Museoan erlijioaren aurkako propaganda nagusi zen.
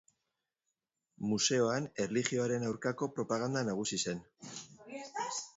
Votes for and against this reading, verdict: 0, 2, rejected